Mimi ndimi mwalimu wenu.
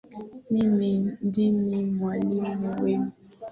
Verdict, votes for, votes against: accepted, 3, 0